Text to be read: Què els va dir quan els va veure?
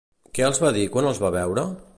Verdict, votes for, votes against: accepted, 2, 0